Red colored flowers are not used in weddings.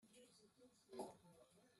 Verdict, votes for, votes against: rejected, 0, 2